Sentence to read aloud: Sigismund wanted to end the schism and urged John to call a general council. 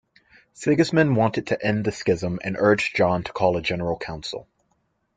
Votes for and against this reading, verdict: 2, 0, accepted